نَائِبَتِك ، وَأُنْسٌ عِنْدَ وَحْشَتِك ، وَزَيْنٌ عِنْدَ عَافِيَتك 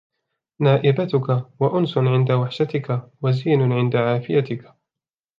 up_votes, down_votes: 2, 1